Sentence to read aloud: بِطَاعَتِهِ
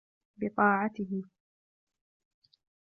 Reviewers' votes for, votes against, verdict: 2, 0, accepted